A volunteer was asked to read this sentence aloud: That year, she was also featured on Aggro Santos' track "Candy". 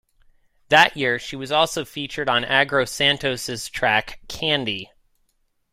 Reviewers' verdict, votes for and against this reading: accepted, 2, 1